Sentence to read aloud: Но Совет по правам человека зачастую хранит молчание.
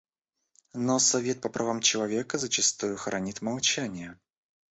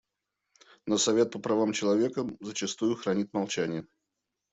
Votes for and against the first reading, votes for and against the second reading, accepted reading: 0, 2, 2, 0, second